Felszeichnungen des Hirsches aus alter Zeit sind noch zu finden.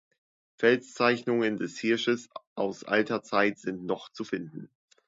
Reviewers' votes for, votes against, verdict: 2, 1, accepted